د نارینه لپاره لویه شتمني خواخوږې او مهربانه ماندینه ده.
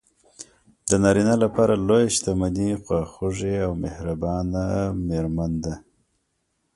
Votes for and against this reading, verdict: 0, 2, rejected